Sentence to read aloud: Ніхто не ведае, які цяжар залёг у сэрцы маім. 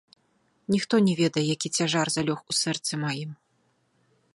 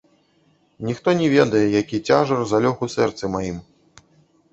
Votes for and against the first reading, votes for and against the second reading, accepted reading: 2, 0, 1, 2, first